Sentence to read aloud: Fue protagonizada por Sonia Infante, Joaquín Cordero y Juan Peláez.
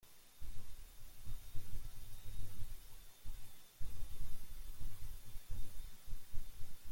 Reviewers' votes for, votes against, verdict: 0, 2, rejected